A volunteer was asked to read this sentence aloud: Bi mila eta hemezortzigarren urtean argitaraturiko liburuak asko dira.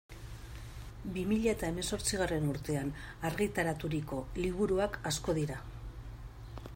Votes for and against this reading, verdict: 2, 0, accepted